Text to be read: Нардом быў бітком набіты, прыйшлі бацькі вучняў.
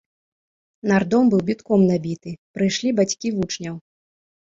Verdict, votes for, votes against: accepted, 3, 0